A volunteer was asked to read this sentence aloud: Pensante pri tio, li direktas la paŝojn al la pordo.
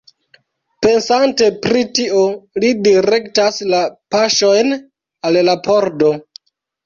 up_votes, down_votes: 2, 0